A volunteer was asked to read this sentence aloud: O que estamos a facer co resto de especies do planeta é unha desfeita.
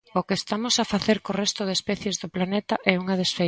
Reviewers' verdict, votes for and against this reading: rejected, 1, 2